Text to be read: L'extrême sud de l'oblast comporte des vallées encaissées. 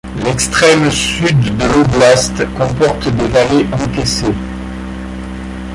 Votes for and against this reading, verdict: 2, 1, accepted